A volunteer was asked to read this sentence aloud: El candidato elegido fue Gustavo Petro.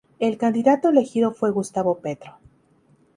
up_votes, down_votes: 2, 0